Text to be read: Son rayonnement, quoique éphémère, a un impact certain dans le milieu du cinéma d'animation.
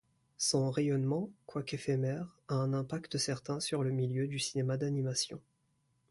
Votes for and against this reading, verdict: 0, 2, rejected